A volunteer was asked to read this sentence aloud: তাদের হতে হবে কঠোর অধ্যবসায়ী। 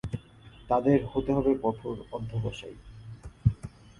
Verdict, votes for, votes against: accepted, 4, 1